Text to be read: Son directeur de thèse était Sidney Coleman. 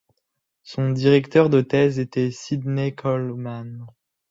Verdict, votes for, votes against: rejected, 1, 2